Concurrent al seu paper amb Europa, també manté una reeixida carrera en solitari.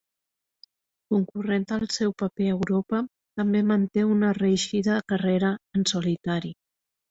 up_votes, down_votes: 1, 2